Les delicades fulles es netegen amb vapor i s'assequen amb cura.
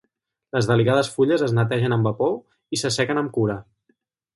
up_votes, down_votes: 4, 2